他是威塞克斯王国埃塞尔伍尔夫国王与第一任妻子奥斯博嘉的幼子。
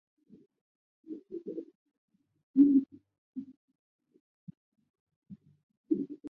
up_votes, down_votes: 0, 2